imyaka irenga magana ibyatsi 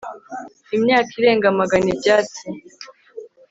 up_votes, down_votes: 4, 0